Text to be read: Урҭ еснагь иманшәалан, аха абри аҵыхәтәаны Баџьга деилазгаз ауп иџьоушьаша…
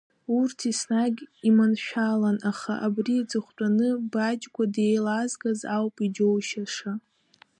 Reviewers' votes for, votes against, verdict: 1, 2, rejected